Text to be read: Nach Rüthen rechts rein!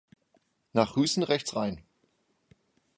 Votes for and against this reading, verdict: 0, 2, rejected